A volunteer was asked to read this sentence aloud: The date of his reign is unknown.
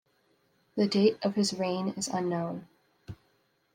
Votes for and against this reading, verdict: 2, 0, accepted